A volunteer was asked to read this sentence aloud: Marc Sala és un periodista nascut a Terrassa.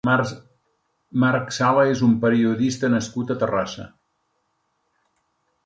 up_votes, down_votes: 0, 2